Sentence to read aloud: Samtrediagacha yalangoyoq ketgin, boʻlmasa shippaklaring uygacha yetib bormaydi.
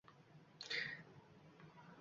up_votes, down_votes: 1, 2